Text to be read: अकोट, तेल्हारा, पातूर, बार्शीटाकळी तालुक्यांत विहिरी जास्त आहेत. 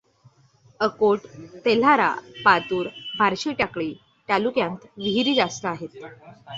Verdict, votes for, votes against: accepted, 2, 0